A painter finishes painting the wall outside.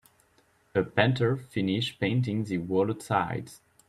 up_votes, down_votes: 1, 2